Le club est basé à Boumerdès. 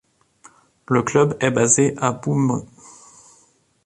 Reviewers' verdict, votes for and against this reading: rejected, 0, 2